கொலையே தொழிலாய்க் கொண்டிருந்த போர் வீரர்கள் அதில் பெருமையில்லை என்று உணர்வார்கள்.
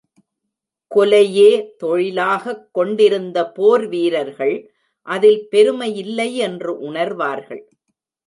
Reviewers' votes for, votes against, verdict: 1, 2, rejected